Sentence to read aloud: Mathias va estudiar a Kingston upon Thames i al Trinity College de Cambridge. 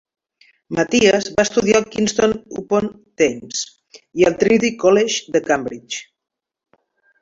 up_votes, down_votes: 1, 2